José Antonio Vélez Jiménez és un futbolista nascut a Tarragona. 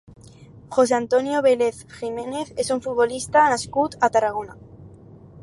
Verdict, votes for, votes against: rejected, 2, 2